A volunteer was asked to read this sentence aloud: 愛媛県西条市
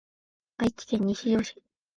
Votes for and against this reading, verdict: 1, 3, rejected